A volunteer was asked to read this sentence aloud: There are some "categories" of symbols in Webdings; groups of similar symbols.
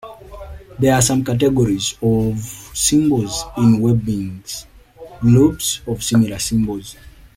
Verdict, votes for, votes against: accepted, 2, 1